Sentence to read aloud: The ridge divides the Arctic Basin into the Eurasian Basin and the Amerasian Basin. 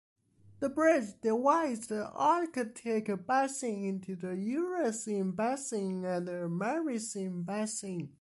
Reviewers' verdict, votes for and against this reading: rejected, 1, 2